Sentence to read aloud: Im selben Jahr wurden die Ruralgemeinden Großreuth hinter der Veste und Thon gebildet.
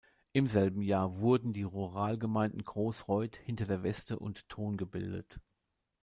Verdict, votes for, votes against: accepted, 2, 0